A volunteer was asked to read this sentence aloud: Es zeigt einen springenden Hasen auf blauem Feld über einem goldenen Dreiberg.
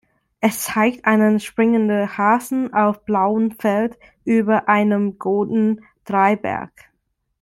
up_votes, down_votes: 0, 2